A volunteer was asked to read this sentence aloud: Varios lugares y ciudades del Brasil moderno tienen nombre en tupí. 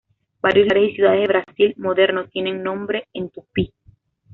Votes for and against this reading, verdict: 0, 2, rejected